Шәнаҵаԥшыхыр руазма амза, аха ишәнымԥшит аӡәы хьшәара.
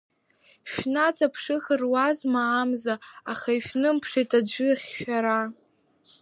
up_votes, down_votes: 3, 2